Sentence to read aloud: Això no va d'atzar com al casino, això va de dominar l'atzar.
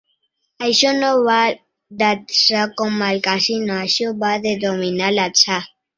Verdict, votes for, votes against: accepted, 2, 1